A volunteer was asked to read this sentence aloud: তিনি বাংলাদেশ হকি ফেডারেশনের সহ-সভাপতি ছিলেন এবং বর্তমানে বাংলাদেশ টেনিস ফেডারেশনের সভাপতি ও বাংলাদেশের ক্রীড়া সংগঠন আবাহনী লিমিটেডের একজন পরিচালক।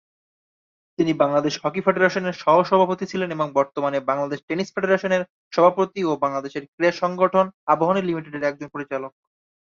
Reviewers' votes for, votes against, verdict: 2, 0, accepted